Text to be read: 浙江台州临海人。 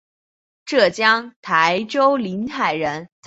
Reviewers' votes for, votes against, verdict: 2, 0, accepted